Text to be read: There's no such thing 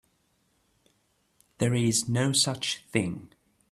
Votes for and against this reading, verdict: 1, 2, rejected